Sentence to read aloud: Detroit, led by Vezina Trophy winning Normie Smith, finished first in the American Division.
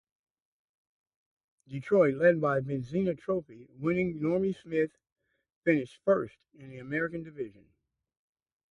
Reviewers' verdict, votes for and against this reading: rejected, 0, 2